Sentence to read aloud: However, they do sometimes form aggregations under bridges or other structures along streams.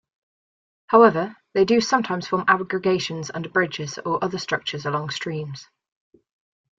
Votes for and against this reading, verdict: 2, 0, accepted